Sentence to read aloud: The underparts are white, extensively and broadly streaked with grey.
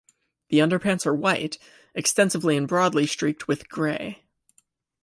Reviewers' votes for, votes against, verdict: 2, 0, accepted